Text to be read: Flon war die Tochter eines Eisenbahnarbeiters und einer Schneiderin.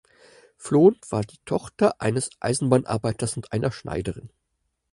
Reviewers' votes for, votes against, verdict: 4, 0, accepted